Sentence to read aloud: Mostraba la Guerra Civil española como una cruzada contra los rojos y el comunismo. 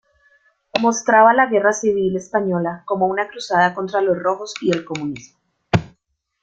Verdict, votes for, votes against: accepted, 2, 0